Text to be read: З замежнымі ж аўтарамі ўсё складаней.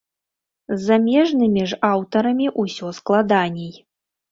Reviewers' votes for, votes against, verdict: 1, 2, rejected